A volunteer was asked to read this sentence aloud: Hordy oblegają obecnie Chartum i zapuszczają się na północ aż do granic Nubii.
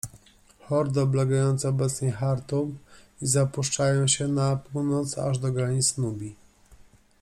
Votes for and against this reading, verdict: 0, 2, rejected